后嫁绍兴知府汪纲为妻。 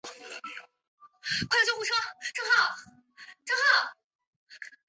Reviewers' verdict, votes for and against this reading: rejected, 1, 4